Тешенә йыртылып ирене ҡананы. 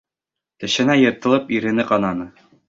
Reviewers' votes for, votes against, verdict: 2, 0, accepted